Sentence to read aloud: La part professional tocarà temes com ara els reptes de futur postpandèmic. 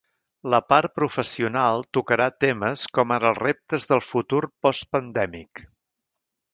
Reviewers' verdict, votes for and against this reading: rejected, 1, 2